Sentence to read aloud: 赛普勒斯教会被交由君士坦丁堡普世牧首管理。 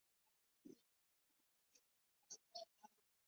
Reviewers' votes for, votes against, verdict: 1, 2, rejected